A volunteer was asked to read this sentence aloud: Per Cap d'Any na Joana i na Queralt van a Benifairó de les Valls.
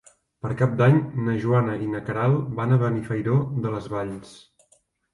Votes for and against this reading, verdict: 5, 0, accepted